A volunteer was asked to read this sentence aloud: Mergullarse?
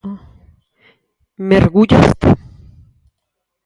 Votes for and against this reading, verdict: 0, 6, rejected